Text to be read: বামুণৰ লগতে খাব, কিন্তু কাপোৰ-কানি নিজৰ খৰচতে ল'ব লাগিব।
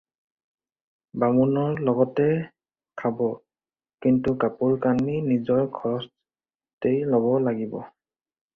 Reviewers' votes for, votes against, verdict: 4, 0, accepted